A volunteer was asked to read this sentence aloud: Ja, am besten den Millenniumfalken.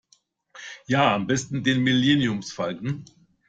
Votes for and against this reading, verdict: 1, 2, rejected